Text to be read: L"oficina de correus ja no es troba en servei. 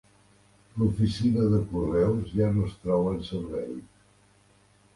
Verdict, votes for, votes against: rejected, 1, 2